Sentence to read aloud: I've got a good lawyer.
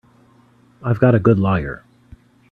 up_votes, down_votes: 0, 2